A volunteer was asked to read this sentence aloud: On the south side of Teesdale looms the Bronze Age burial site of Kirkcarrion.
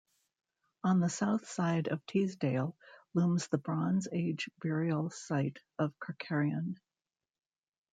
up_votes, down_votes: 1, 2